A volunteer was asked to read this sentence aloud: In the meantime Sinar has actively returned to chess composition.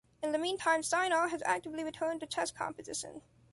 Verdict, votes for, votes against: accepted, 2, 0